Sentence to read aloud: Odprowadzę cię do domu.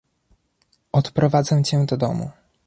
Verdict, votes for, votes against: accepted, 2, 0